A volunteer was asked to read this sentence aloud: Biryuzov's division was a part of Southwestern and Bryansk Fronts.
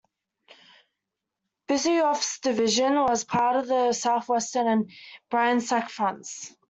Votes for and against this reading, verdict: 0, 2, rejected